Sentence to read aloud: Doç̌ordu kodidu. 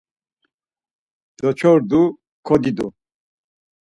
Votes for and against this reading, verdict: 4, 2, accepted